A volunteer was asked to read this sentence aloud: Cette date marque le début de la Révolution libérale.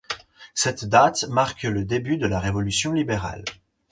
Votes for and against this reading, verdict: 4, 0, accepted